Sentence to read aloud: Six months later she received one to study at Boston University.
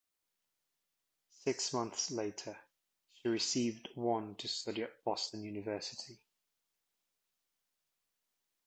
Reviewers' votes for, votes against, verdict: 2, 0, accepted